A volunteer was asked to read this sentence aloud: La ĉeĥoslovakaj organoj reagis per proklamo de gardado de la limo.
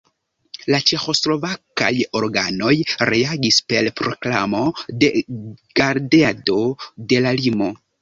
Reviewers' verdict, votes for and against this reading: rejected, 0, 2